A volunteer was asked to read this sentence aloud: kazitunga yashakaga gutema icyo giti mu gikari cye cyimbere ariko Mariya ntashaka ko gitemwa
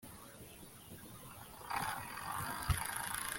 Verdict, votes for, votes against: rejected, 1, 2